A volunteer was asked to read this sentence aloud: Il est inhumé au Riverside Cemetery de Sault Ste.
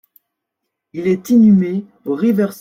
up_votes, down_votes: 0, 2